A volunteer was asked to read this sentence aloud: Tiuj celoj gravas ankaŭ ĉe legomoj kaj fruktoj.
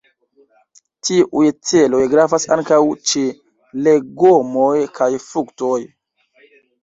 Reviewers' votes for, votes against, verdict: 1, 2, rejected